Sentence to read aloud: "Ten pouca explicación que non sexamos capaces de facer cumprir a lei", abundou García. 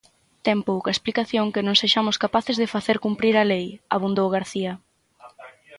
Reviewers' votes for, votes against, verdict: 0, 6, rejected